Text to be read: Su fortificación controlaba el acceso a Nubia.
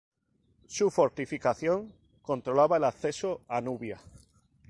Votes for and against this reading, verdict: 2, 0, accepted